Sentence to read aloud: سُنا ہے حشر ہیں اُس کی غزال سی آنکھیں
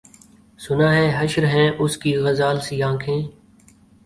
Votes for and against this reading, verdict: 2, 0, accepted